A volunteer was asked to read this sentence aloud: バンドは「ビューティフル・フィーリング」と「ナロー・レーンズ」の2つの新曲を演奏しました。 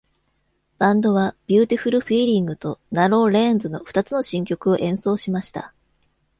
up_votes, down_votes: 0, 2